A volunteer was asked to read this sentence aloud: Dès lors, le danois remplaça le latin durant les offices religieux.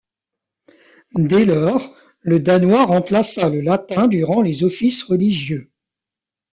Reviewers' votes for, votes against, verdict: 2, 0, accepted